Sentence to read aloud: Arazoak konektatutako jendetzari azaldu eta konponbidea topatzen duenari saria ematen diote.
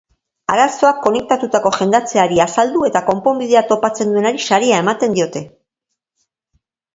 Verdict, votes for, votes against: rejected, 2, 3